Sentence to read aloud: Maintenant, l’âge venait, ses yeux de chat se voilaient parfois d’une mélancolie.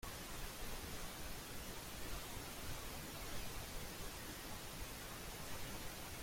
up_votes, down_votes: 0, 2